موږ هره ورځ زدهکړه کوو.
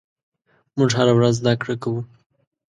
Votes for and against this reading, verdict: 2, 0, accepted